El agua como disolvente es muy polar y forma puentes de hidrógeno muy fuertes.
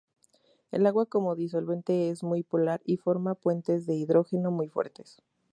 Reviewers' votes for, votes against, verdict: 2, 0, accepted